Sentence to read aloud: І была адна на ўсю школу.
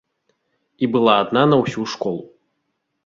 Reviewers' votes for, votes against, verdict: 2, 1, accepted